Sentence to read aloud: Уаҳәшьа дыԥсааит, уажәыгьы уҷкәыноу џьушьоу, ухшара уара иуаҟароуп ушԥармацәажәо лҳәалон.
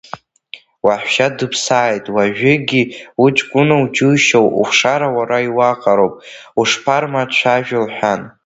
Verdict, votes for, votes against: rejected, 0, 2